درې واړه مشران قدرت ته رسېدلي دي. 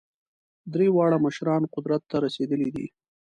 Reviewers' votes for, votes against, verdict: 2, 0, accepted